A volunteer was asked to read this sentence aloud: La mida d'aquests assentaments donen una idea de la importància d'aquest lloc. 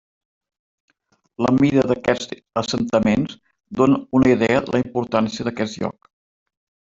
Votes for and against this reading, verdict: 2, 1, accepted